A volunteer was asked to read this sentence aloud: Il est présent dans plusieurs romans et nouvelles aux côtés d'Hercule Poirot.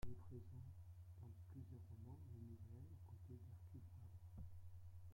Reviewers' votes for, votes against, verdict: 0, 2, rejected